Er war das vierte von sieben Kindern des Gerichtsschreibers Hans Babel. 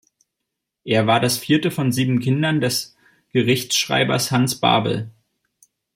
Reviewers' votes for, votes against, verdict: 2, 0, accepted